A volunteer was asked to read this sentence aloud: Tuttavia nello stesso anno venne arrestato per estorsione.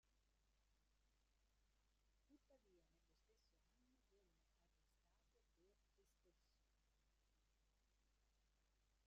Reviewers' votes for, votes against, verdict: 0, 2, rejected